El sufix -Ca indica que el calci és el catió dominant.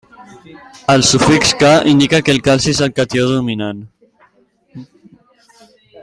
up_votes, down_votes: 2, 1